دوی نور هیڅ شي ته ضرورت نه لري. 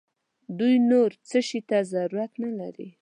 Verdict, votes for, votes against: accepted, 2, 1